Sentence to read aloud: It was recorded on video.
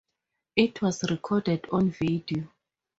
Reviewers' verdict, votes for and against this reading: rejected, 0, 2